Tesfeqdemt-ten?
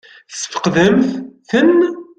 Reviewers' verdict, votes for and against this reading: rejected, 0, 2